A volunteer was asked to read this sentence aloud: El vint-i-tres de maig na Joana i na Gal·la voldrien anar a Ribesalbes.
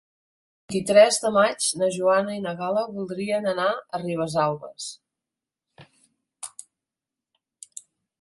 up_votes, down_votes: 2, 1